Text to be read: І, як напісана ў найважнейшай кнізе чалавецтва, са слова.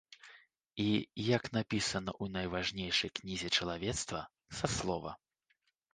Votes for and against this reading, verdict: 2, 0, accepted